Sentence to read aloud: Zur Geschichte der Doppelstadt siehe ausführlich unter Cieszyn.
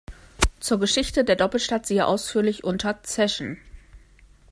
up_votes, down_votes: 0, 2